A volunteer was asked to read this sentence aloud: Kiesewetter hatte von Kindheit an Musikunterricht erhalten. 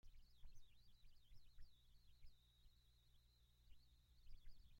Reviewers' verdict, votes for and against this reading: rejected, 0, 2